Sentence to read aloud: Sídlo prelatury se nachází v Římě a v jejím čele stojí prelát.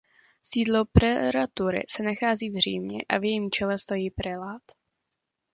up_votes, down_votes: 0, 2